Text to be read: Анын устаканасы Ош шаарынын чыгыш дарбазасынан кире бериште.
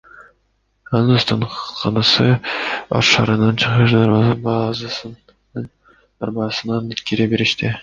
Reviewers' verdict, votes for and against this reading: rejected, 1, 2